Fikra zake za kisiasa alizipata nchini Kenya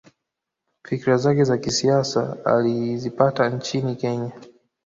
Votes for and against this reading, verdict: 0, 2, rejected